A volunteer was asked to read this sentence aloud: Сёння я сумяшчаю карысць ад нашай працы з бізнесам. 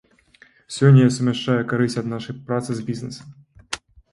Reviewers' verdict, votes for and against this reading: rejected, 0, 2